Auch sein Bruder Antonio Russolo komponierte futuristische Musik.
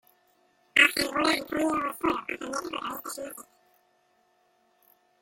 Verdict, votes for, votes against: rejected, 0, 2